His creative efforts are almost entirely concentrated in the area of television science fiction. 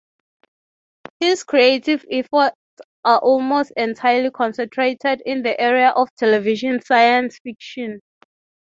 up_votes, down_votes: 6, 12